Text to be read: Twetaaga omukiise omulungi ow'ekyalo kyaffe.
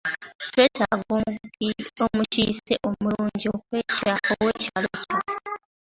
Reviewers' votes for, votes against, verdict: 2, 1, accepted